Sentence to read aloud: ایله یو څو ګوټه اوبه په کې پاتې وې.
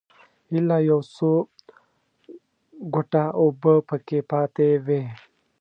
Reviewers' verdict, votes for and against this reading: rejected, 1, 2